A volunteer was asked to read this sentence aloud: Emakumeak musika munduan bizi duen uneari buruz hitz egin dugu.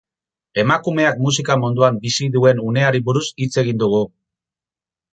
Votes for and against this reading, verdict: 2, 2, rejected